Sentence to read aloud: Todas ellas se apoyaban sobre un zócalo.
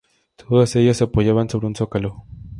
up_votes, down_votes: 2, 0